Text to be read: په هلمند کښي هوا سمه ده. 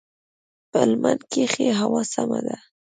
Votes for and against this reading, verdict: 1, 2, rejected